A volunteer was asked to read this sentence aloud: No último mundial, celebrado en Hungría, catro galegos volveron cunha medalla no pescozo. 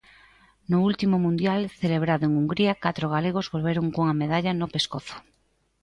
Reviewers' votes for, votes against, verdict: 2, 0, accepted